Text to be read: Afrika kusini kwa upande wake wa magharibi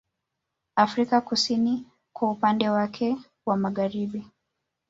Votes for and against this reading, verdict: 1, 2, rejected